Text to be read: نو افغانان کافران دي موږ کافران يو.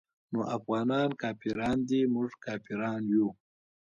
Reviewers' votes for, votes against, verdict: 1, 2, rejected